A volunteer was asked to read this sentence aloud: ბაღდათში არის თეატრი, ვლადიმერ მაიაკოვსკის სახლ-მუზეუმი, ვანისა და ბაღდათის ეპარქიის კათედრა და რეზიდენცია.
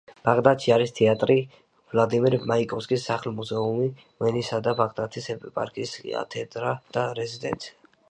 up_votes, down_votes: 1, 2